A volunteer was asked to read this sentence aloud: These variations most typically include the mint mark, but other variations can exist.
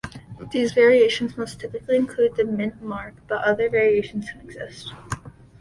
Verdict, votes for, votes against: rejected, 1, 2